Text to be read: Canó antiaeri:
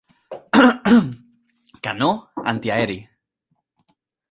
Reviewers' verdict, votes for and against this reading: rejected, 0, 2